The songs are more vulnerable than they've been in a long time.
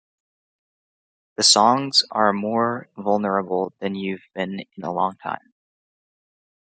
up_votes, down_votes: 1, 2